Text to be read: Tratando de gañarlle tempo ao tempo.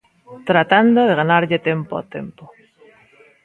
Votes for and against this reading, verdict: 0, 2, rejected